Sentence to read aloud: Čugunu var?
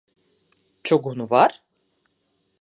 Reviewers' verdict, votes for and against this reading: accepted, 2, 0